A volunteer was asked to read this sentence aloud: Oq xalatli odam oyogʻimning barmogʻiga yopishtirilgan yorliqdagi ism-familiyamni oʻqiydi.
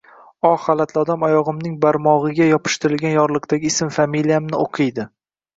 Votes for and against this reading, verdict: 1, 2, rejected